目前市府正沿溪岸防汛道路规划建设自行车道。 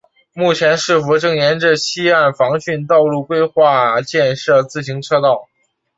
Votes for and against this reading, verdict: 2, 0, accepted